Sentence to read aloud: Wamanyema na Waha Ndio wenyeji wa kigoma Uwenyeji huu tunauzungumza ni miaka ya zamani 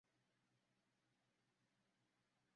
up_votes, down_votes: 0, 2